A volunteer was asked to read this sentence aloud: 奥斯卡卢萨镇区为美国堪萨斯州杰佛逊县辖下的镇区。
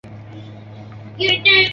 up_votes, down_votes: 1, 2